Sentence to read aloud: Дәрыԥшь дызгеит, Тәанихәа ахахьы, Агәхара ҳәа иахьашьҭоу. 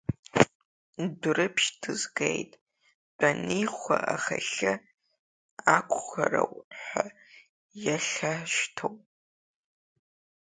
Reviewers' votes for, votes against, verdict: 0, 2, rejected